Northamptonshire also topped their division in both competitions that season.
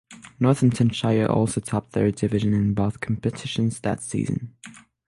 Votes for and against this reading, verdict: 3, 3, rejected